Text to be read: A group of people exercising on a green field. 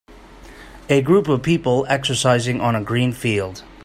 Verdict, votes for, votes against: accepted, 2, 0